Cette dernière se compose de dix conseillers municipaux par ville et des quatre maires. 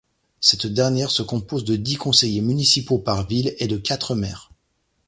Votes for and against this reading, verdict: 0, 2, rejected